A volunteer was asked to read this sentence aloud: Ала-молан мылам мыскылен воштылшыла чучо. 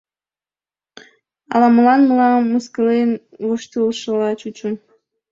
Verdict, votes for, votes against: accepted, 3, 0